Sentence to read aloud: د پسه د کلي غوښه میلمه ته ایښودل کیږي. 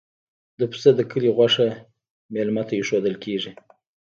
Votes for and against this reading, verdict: 0, 2, rejected